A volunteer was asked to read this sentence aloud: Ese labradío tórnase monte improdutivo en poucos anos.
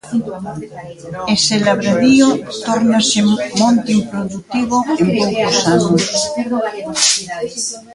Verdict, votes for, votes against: rejected, 0, 2